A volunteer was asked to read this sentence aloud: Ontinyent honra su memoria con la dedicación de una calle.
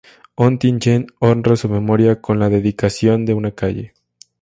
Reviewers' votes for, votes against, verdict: 4, 0, accepted